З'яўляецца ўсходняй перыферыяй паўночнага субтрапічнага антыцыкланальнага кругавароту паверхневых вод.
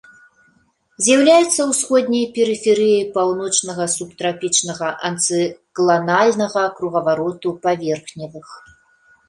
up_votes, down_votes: 0, 2